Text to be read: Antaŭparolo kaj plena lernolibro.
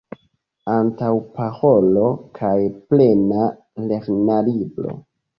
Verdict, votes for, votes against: rejected, 1, 2